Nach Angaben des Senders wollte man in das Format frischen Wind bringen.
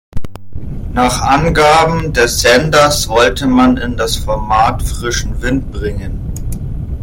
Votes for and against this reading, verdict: 0, 2, rejected